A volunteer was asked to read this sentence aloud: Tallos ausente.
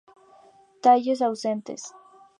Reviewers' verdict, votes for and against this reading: rejected, 2, 2